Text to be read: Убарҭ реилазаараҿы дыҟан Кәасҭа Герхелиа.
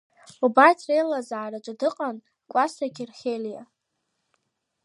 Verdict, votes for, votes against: accepted, 2, 1